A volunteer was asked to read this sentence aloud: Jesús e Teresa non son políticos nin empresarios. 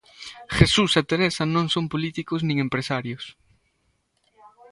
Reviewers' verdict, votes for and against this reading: accepted, 2, 0